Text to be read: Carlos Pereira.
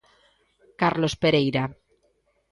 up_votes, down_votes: 2, 0